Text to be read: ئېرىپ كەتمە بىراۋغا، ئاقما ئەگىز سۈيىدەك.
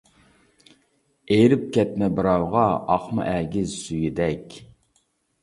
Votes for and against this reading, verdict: 2, 0, accepted